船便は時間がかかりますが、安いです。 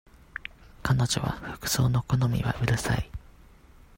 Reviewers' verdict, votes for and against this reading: rejected, 0, 2